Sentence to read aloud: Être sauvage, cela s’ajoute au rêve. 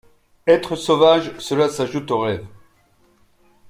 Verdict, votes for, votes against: accepted, 2, 0